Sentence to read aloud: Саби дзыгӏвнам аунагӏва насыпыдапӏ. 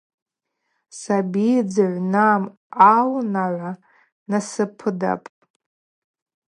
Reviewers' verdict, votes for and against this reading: accepted, 4, 0